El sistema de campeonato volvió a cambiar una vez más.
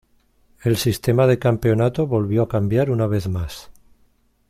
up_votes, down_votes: 2, 0